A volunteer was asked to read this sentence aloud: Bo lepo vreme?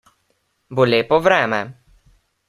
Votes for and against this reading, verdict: 2, 0, accepted